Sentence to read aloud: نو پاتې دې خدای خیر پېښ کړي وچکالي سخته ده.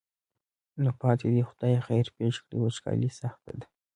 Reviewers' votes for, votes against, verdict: 2, 0, accepted